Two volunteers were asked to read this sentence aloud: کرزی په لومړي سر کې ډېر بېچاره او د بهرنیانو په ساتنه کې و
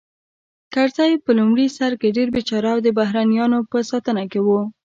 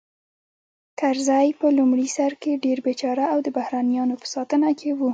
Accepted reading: first